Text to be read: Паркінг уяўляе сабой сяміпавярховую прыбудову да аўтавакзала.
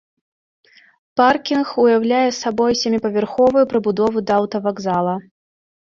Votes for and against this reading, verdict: 2, 0, accepted